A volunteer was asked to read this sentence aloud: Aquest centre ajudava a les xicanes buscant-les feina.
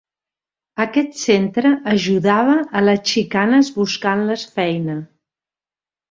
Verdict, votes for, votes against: accepted, 3, 0